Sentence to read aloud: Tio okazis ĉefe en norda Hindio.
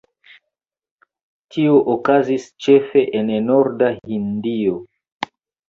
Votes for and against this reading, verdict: 1, 2, rejected